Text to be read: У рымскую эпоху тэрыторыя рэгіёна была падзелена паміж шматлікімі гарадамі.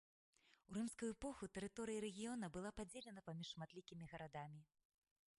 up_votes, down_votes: 0, 2